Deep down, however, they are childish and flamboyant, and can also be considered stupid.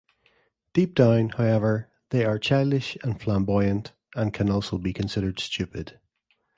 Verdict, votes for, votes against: accepted, 2, 0